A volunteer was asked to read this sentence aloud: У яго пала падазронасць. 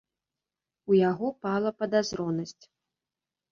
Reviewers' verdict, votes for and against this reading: accepted, 2, 0